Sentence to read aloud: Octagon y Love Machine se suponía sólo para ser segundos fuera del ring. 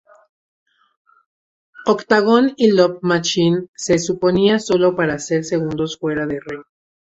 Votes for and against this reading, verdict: 2, 0, accepted